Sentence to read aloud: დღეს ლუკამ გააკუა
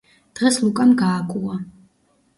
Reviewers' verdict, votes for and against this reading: rejected, 0, 2